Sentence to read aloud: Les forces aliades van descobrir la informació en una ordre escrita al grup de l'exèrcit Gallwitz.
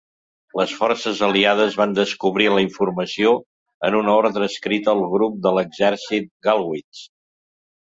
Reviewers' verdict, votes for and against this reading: accepted, 2, 0